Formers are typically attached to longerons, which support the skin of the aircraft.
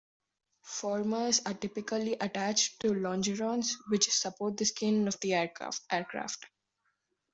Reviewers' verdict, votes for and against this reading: rejected, 2, 3